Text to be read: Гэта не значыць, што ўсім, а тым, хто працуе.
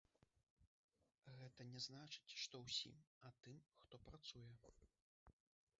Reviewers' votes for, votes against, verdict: 1, 2, rejected